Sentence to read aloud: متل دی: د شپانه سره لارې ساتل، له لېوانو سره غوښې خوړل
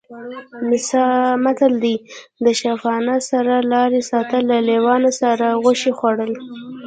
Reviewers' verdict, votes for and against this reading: accepted, 2, 0